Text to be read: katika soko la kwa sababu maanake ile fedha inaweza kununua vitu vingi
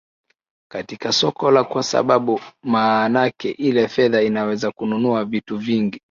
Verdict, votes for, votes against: accepted, 2, 0